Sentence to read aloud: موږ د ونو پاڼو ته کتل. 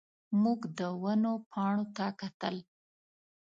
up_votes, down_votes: 2, 0